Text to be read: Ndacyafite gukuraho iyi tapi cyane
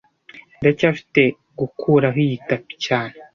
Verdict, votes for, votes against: accepted, 2, 0